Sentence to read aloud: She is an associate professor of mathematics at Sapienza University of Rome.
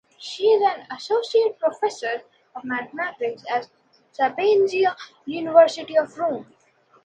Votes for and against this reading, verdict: 1, 2, rejected